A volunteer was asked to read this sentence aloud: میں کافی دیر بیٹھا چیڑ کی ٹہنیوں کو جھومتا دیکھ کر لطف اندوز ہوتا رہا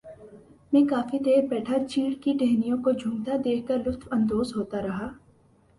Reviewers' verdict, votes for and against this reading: accepted, 3, 0